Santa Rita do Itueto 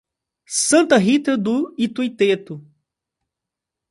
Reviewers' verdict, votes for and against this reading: rejected, 1, 2